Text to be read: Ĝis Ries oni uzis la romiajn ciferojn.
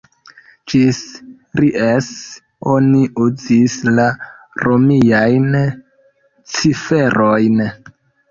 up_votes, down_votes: 2, 1